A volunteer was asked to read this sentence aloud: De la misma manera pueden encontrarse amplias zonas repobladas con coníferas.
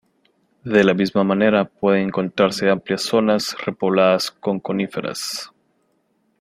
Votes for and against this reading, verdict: 2, 0, accepted